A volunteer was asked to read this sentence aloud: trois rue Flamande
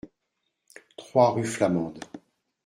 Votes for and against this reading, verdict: 3, 1, accepted